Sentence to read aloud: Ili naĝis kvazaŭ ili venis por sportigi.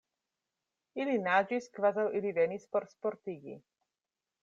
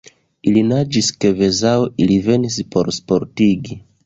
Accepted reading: first